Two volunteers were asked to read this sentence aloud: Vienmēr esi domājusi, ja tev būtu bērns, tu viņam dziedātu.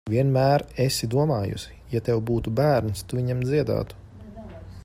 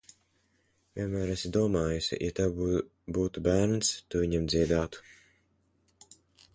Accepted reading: first